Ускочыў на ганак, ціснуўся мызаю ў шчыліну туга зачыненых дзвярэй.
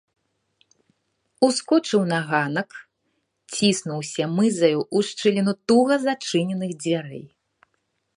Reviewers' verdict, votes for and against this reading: accepted, 2, 1